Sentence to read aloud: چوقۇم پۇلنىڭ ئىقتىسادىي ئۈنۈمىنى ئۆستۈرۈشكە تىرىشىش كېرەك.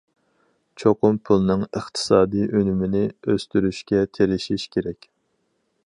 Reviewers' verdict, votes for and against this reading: accepted, 4, 0